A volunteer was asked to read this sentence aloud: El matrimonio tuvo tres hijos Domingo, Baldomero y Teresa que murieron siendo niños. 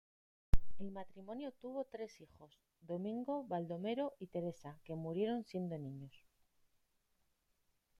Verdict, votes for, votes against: accepted, 2, 1